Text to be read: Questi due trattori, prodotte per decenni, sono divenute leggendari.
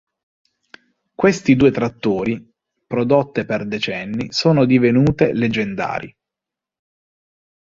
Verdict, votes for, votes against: accepted, 2, 0